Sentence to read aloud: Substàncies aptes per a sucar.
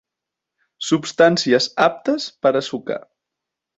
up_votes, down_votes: 4, 0